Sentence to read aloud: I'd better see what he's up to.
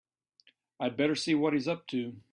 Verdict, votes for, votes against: accepted, 3, 0